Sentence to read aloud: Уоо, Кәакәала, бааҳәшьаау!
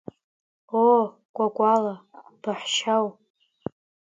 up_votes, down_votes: 1, 2